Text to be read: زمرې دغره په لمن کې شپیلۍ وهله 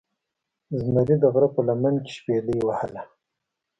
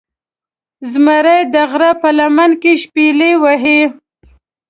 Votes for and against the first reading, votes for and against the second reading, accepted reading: 2, 0, 1, 2, first